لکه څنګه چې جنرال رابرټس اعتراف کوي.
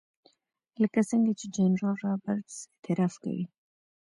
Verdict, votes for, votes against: accepted, 2, 0